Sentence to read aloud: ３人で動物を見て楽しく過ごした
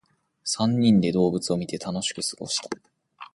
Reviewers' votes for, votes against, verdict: 0, 2, rejected